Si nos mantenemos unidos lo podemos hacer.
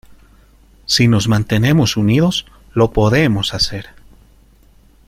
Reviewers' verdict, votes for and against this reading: accepted, 2, 1